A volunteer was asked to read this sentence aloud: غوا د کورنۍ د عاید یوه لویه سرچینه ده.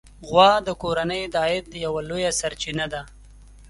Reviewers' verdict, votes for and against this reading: accepted, 2, 0